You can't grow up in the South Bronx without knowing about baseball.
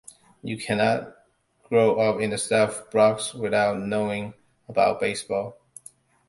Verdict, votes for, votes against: rejected, 1, 2